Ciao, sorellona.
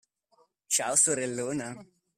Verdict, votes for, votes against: accepted, 2, 1